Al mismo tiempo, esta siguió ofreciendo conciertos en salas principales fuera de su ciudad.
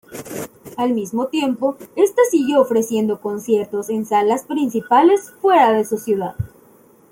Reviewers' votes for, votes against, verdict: 2, 0, accepted